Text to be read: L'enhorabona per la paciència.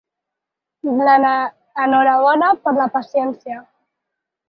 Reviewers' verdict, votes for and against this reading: rejected, 2, 4